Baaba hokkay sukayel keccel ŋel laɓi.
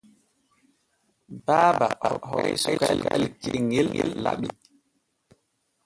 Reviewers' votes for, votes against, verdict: 0, 2, rejected